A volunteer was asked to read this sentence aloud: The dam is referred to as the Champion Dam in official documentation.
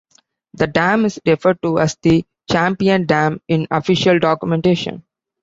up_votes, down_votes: 2, 0